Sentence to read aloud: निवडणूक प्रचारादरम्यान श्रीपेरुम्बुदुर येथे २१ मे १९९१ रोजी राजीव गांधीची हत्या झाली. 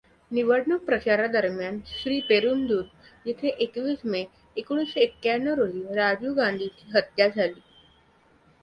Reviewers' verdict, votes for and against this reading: rejected, 0, 2